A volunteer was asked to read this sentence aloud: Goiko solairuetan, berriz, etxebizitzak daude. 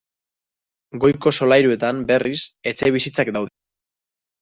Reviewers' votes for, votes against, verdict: 1, 2, rejected